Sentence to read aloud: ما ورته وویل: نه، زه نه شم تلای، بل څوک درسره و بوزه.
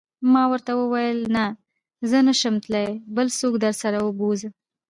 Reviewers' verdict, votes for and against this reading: accepted, 2, 1